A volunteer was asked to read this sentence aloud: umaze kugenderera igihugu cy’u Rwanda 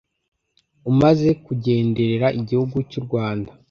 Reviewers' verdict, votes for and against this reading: accepted, 2, 0